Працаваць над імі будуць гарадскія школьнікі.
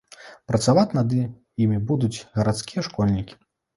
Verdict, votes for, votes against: rejected, 1, 2